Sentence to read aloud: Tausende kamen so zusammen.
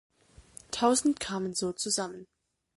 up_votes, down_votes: 1, 2